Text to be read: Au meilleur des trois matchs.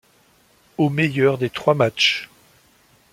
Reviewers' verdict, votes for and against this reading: accepted, 2, 0